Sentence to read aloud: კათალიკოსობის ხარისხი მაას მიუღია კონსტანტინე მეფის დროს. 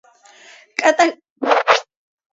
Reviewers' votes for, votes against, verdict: 1, 2, rejected